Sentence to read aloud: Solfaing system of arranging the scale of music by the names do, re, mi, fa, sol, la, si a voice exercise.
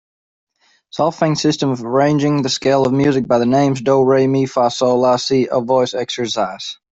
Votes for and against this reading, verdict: 2, 0, accepted